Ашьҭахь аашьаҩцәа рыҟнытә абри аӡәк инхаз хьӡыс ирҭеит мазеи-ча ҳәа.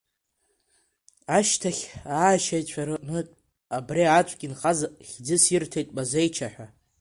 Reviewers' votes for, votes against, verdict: 0, 3, rejected